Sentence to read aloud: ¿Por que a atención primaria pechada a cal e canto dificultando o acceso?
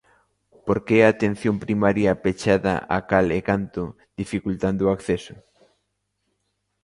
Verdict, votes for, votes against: accepted, 2, 0